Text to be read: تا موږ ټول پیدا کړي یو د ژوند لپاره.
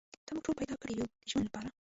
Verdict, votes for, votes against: rejected, 0, 2